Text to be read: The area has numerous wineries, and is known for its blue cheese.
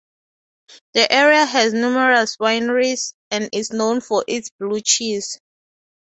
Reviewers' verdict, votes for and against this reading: accepted, 2, 0